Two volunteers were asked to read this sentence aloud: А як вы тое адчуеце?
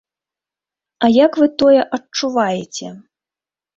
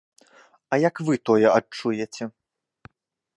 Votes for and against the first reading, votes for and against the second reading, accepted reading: 0, 2, 2, 0, second